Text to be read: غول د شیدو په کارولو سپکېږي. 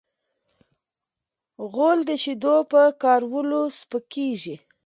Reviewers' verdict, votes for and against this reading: accepted, 2, 1